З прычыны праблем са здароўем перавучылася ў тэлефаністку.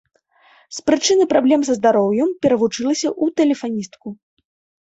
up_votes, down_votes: 2, 1